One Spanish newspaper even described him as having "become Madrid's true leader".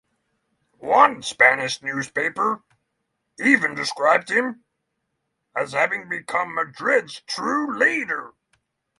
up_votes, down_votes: 3, 3